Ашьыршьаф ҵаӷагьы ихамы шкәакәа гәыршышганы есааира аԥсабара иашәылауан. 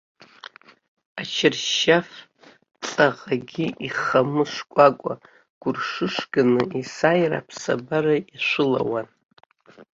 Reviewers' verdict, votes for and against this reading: rejected, 0, 2